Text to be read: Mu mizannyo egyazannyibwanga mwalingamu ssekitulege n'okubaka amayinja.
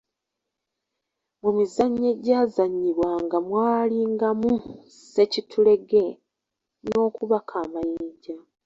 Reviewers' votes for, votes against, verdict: 2, 0, accepted